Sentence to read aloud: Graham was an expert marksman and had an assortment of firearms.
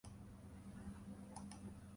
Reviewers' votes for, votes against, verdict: 0, 2, rejected